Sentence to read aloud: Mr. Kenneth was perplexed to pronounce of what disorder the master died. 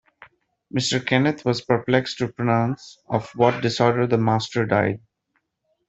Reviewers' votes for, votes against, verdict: 3, 0, accepted